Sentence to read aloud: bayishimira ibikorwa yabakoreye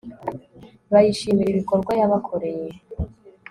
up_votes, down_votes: 2, 0